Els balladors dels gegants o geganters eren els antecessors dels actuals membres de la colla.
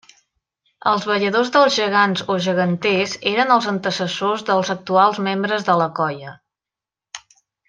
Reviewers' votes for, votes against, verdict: 2, 0, accepted